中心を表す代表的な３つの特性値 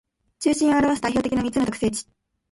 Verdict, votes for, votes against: rejected, 0, 2